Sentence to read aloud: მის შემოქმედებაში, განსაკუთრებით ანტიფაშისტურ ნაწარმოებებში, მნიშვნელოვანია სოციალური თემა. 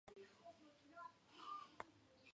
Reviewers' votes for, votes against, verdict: 1, 2, rejected